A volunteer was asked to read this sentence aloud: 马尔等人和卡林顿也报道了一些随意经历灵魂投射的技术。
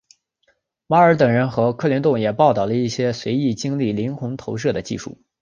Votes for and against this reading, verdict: 2, 1, accepted